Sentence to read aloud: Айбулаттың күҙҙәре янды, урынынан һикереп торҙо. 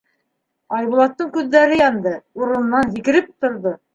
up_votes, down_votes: 2, 0